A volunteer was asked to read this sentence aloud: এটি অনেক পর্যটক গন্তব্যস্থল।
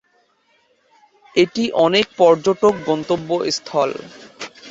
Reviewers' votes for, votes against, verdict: 2, 0, accepted